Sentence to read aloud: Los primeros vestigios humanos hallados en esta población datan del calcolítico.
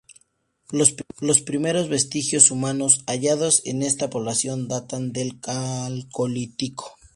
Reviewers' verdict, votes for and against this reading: rejected, 0, 2